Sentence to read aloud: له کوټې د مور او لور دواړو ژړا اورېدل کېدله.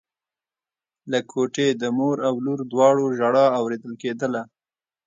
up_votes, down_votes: 2, 0